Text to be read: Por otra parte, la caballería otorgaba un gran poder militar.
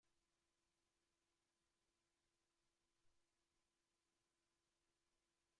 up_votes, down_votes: 0, 2